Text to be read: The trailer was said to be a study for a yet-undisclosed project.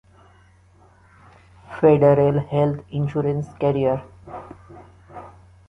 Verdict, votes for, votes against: rejected, 0, 2